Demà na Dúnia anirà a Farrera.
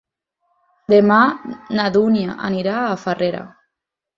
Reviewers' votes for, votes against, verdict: 4, 0, accepted